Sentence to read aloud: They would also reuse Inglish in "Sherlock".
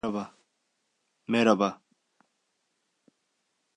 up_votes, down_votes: 1, 2